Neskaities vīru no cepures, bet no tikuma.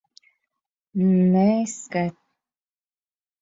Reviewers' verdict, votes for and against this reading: rejected, 0, 4